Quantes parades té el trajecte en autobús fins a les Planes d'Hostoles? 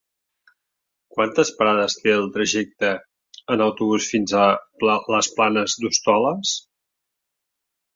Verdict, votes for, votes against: rejected, 0, 2